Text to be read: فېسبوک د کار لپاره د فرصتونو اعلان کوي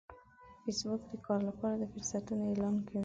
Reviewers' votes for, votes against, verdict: 1, 2, rejected